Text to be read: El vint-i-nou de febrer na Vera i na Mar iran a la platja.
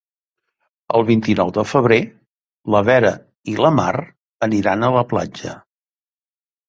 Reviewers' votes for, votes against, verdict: 3, 2, accepted